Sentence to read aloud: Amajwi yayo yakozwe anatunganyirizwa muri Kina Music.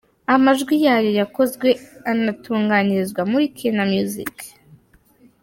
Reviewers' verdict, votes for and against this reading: rejected, 0, 2